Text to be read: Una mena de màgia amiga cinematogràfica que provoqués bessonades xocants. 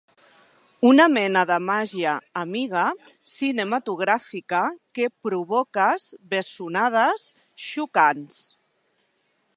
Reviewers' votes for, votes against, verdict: 0, 2, rejected